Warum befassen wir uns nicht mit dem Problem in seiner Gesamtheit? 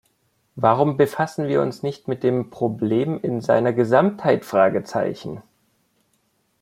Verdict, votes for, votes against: rejected, 1, 2